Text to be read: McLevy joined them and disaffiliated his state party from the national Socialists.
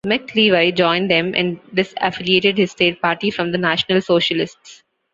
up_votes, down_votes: 2, 0